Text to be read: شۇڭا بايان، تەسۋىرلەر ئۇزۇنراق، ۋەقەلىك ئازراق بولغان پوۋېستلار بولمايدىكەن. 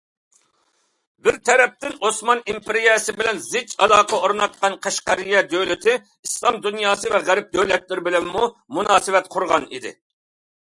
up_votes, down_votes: 0, 2